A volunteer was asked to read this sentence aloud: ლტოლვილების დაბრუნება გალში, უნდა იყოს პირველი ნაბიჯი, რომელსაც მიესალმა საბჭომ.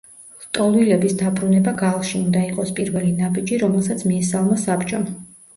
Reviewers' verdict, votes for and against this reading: rejected, 1, 2